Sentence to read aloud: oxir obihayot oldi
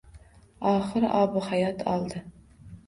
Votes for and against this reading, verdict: 3, 0, accepted